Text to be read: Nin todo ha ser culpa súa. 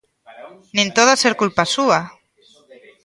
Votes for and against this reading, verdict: 2, 1, accepted